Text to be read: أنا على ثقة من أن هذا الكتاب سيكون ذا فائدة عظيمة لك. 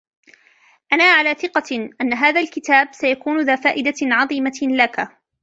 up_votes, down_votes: 0, 2